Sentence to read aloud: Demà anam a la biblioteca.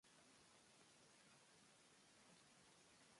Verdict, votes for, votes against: rejected, 0, 2